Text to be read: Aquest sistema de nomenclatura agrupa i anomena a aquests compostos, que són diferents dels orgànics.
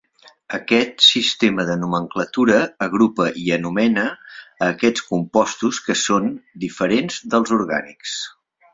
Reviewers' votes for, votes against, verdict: 8, 0, accepted